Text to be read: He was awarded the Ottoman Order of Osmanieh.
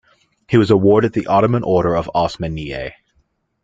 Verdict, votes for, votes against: accepted, 2, 0